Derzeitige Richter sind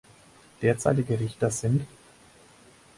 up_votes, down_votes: 6, 0